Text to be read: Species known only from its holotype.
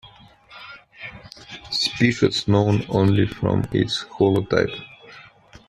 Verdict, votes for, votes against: rejected, 1, 2